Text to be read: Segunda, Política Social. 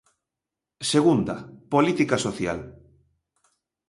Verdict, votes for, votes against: accepted, 2, 0